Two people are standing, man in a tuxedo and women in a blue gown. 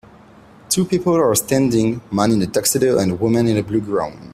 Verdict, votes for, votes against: accepted, 2, 0